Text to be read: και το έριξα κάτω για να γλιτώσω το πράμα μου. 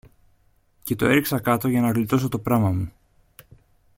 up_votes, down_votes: 2, 0